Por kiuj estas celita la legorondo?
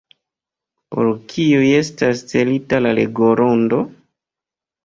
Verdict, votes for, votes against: accepted, 2, 0